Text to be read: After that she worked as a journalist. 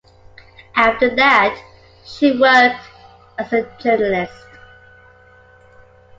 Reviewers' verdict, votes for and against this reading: accepted, 2, 0